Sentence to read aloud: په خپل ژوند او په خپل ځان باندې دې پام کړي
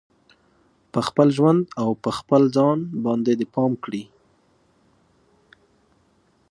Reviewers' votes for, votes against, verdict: 2, 0, accepted